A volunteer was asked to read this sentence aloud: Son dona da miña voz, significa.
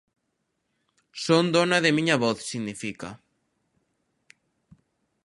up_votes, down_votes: 1, 2